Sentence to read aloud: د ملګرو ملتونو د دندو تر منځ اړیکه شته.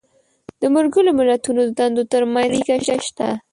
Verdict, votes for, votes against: rejected, 0, 2